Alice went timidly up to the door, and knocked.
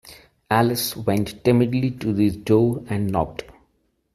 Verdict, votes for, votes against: rejected, 0, 2